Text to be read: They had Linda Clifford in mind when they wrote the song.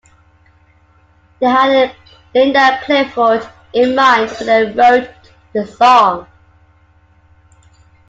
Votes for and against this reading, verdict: 2, 0, accepted